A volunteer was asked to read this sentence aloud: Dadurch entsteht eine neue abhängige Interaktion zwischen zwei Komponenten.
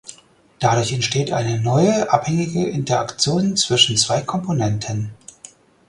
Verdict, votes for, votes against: accepted, 4, 0